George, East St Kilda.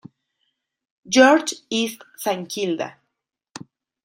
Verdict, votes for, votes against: rejected, 0, 2